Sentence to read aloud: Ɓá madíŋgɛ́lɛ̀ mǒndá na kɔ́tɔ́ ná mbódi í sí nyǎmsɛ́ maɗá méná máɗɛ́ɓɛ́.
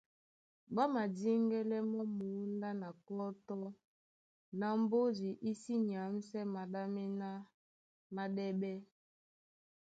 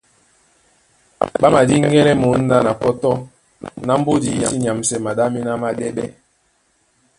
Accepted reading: first